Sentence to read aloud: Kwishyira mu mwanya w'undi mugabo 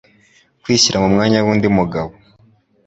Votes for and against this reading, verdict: 2, 0, accepted